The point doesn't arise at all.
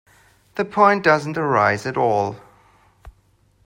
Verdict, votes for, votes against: accepted, 2, 0